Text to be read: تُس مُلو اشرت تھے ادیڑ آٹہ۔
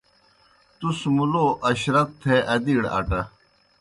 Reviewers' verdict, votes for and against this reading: accepted, 2, 0